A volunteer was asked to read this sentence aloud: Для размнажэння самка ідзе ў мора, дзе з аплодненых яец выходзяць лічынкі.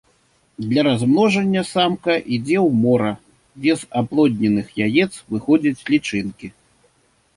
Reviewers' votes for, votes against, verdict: 1, 2, rejected